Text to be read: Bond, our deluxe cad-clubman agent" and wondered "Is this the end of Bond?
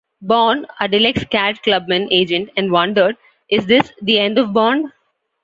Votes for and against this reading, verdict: 1, 2, rejected